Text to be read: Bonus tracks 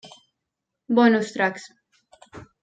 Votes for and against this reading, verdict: 2, 0, accepted